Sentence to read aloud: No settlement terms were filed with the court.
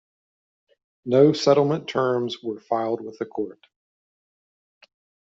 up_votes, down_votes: 2, 0